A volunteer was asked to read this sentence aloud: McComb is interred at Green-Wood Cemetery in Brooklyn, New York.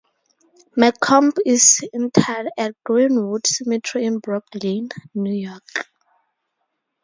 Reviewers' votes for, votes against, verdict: 0, 2, rejected